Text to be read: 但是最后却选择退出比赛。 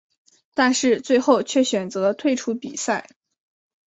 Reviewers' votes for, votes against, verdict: 2, 0, accepted